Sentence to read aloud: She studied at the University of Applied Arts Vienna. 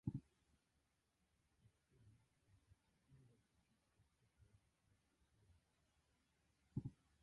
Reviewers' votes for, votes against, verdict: 0, 2, rejected